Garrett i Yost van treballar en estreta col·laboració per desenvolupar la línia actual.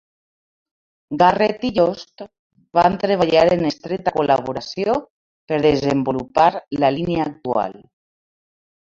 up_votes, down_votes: 2, 0